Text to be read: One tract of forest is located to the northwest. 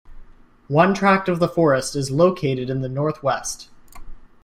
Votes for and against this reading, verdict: 1, 2, rejected